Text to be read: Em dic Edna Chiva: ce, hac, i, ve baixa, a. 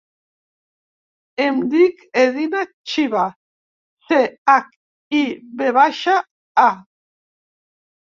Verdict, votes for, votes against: rejected, 1, 2